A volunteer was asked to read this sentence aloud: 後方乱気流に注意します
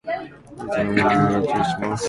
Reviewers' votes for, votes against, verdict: 0, 2, rejected